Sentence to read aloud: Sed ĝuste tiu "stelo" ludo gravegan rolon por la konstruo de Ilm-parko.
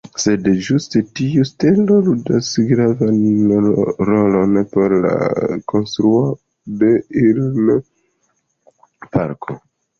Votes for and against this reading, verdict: 1, 2, rejected